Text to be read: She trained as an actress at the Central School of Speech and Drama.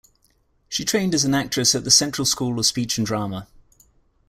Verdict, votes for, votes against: accepted, 2, 0